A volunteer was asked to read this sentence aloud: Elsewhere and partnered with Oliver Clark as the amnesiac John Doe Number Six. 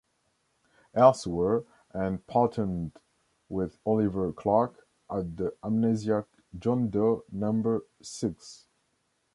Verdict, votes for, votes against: rejected, 1, 2